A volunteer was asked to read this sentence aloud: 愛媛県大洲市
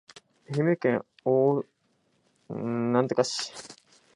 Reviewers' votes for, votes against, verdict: 0, 2, rejected